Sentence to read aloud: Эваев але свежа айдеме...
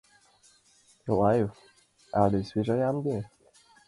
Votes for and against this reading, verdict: 0, 2, rejected